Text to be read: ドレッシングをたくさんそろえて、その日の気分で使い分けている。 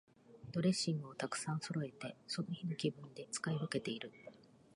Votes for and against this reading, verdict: 1, 2, rejected